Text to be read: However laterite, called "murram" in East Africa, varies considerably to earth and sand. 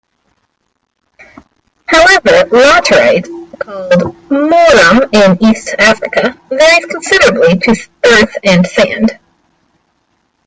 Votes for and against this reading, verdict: 0, 2, rejected